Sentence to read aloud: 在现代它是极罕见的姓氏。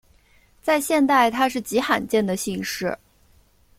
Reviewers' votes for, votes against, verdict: 2, 0, accepted